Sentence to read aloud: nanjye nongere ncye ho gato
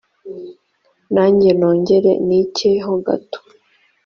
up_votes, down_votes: 2, 0